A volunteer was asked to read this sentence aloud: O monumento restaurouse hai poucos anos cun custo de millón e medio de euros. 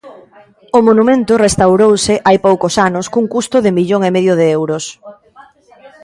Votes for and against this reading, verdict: 2, 0, accepted